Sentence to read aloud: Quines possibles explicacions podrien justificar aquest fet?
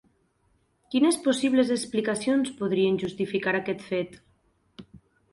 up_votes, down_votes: 4, 0